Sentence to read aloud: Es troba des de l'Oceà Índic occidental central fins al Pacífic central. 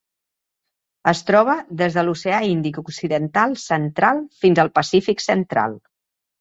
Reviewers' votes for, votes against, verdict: 2, 0, accepted